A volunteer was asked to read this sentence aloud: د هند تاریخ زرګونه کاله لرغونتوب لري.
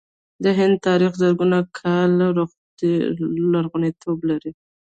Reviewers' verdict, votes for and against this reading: accepted, 2, 1